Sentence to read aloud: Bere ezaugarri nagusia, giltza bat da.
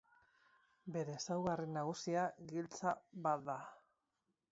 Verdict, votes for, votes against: accepted, 4, 0